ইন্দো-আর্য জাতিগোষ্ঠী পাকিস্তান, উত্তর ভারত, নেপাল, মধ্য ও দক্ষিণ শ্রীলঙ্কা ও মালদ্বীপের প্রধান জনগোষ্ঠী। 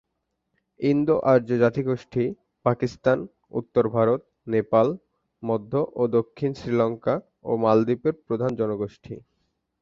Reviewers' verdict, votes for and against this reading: accepted, 6, 0